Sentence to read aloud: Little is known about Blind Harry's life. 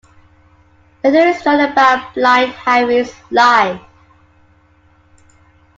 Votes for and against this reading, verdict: 0, 2, rejected